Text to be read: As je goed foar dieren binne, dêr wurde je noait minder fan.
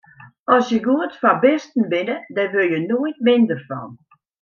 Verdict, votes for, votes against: rejected, 0, 2